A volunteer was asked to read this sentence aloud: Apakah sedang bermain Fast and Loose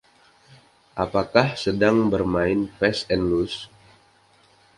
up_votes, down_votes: 2, 0